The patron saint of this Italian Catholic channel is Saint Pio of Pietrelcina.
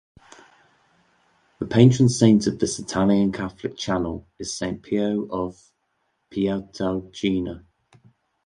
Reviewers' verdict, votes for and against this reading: rejected, 1, 2